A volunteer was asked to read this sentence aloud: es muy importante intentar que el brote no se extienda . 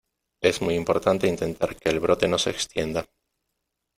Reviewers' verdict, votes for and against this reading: accepted, 2, 0